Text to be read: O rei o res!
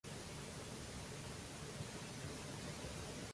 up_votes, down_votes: 0, 2